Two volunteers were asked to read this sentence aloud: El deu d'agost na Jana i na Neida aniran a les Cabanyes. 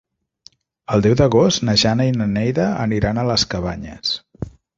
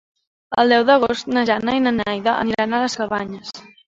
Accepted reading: first